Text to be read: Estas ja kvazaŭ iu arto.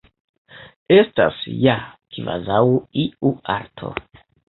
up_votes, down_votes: 2, 0